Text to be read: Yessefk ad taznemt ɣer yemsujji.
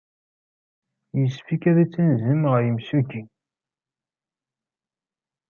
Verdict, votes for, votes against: rejected, 0, 2